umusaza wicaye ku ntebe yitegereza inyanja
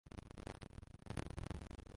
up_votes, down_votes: 0, 2